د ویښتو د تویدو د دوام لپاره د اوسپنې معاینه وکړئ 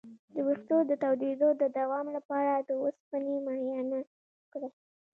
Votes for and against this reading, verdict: 2, 0, accepted